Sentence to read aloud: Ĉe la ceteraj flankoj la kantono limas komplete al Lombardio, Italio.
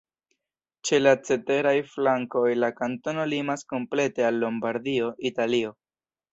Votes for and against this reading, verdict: 2, 0, accepted